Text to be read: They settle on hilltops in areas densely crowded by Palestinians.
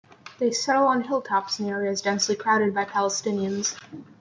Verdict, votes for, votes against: accepted, 2, 0